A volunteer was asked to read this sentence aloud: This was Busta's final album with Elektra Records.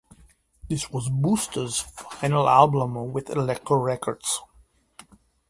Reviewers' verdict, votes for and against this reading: rejected, 1, 2